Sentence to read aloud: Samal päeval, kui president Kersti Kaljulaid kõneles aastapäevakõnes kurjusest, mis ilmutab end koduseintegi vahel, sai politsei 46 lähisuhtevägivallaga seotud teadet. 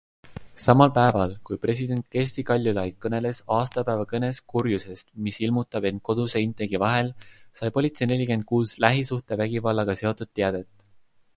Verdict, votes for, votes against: rejected, 0, 2